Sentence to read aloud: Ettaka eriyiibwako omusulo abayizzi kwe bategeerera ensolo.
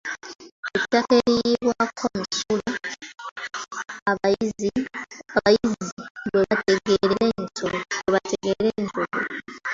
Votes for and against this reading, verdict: 0, 2, rejected